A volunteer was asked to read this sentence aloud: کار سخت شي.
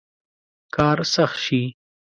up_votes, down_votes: 2, 0